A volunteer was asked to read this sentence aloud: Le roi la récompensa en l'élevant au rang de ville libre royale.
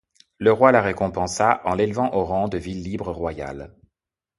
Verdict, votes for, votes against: accepted, 2, 0